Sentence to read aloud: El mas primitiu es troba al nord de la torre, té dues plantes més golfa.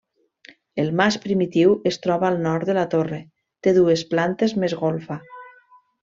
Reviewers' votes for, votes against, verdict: 3, 0, accepted